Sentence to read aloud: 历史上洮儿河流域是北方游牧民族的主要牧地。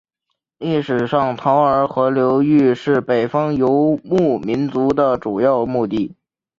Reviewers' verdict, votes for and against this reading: accepted, 3, 0